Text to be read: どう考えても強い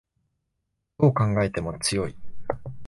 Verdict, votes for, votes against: accepted, 2, 0